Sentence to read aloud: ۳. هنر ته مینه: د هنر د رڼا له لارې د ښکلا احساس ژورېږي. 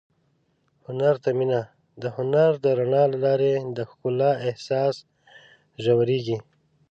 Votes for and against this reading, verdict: 0, 2, rejected